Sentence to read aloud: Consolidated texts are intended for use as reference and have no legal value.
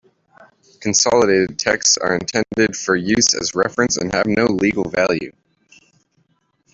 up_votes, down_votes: 2, 1